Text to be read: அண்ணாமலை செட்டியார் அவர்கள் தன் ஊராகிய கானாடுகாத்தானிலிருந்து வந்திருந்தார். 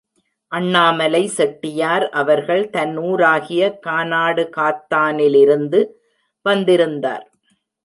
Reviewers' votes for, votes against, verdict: 2, 0, accepted